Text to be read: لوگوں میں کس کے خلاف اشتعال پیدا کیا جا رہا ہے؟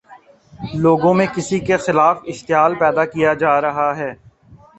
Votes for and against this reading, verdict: 0, 2, rejected